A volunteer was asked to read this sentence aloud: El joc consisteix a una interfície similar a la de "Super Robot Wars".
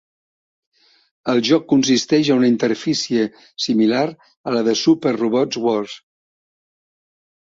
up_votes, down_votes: 2, 0